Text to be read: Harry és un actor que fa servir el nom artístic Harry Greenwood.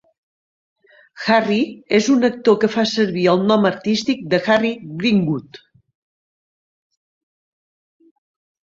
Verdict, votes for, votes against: rejected, 0, 2